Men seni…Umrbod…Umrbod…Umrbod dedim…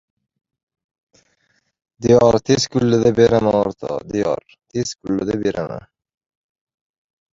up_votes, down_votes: 0, 2